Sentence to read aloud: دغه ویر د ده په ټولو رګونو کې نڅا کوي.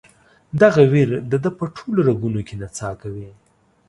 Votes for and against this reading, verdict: 2, 0, accepted